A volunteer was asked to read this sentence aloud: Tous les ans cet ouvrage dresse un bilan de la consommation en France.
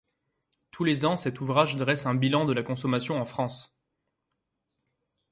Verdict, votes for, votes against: accepted, 2, 0